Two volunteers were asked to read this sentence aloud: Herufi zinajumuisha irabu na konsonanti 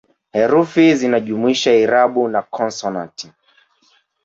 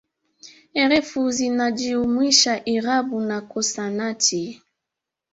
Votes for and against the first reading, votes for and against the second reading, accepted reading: 2, 1, 0, 2, first